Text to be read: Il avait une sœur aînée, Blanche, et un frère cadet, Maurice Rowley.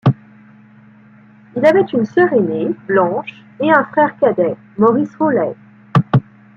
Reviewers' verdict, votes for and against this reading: accepted, 2, 0